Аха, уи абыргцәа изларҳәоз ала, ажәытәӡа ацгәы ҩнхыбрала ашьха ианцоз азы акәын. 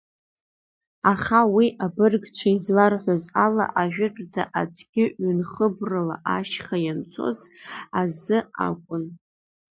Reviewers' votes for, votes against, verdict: 1, 2, rejected